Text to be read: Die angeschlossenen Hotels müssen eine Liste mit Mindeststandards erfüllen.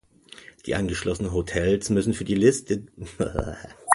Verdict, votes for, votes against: rejected, 0, 2